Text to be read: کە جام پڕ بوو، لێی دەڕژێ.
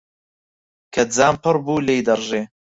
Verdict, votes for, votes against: accepted, 4, 0